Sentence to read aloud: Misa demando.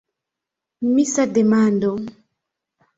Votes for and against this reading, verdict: 2, 0, accepted